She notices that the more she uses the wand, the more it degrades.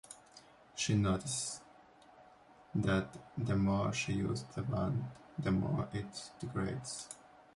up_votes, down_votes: 0, 2